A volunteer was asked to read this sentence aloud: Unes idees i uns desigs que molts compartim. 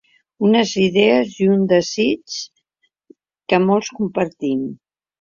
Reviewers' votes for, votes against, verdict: 0, 2, rejected